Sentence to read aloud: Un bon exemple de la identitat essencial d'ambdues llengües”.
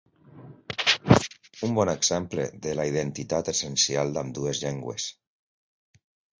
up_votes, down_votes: 2, 0